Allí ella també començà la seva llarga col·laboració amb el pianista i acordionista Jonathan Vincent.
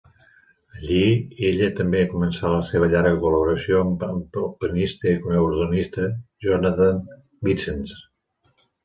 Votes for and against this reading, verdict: 1, 2, rejected